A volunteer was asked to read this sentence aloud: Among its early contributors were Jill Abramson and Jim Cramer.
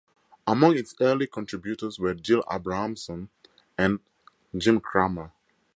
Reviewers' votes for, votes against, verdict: 4, 0, accepted